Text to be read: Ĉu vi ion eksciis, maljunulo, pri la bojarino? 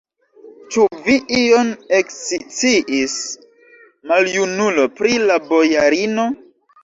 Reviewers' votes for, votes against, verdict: 2, 0, accepted